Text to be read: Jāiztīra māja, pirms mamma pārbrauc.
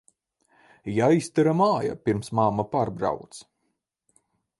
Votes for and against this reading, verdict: 0, 4, rejected